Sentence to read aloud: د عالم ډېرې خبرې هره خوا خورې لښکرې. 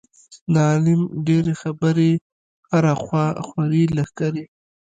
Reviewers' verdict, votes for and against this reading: rejected, 1, 2